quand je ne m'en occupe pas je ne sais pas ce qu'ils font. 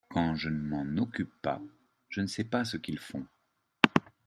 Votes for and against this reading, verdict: 2, 0, accepted